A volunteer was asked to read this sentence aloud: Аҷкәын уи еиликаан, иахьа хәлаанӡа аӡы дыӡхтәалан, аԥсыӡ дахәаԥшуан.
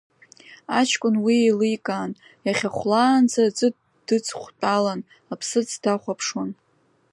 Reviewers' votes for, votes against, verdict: 1, 2, rejected